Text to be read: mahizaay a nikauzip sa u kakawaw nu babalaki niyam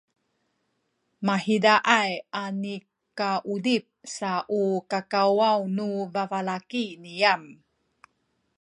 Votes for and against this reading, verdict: 2, 1, accepted